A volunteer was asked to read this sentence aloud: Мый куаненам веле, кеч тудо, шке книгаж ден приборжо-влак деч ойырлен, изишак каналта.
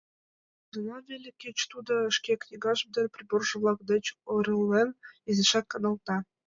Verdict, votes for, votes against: rejected, 0, 2